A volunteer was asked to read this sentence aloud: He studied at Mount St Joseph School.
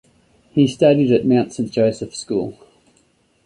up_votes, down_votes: 2, 0